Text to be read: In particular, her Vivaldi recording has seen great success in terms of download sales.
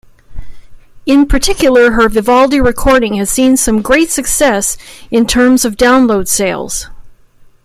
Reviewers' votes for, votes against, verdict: 1, 2, rejected